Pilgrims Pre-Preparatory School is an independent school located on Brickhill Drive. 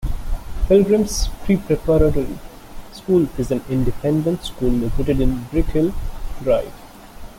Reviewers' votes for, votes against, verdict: 1, 2, rejected